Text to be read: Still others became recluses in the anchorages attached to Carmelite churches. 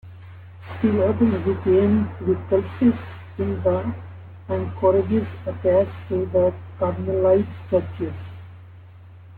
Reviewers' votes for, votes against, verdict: 0, 2, rejected